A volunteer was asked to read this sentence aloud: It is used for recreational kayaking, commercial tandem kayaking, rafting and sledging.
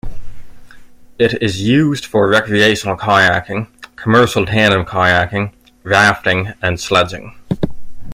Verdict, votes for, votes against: accepted, 2, 1